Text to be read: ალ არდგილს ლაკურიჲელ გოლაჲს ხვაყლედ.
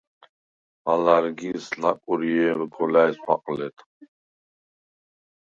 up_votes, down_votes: 0, 4